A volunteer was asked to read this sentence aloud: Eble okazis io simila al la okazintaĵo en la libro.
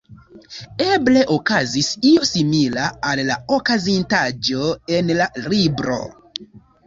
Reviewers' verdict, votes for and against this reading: rejected, 0, 2